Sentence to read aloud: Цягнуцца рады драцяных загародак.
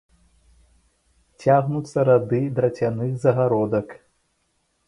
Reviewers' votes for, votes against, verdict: 2, 0, accepted